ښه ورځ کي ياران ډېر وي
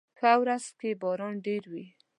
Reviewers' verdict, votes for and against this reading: rejected, 0, 2